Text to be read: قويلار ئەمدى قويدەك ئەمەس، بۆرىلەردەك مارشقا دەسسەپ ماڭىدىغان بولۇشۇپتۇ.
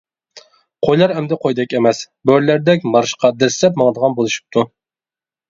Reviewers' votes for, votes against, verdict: 2, 0, accepted